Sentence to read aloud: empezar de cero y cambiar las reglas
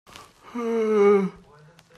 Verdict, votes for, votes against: rejected, 0, 2